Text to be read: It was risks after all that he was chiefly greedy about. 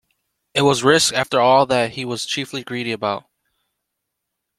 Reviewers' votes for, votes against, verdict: 2, 1, accepted